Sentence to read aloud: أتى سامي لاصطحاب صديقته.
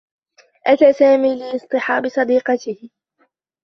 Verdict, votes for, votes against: rejected, 1, 2